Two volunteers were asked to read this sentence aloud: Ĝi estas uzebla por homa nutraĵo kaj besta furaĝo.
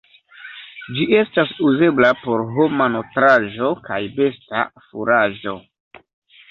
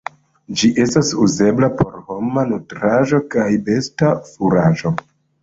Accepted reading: first